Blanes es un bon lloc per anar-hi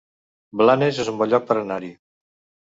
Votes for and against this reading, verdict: 2, 0, accepted